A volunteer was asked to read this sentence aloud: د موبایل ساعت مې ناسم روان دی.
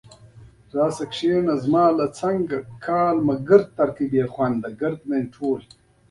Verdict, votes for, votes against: rejected, 1, 2